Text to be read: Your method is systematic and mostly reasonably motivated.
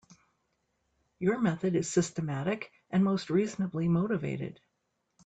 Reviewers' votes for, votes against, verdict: 0, 3, rejected